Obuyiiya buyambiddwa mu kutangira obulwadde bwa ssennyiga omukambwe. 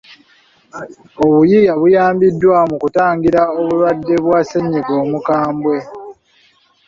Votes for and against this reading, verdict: 0, 2, rejected